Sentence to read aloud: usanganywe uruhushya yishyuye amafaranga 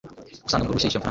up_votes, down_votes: 0, 2